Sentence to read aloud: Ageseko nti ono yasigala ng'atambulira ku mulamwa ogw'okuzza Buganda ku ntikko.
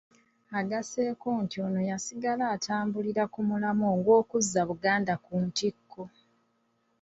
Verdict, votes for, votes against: accepted, 2, 0